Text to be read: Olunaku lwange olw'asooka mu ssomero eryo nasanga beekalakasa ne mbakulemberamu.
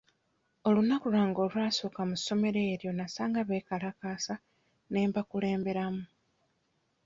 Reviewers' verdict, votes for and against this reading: accepted, 2, 0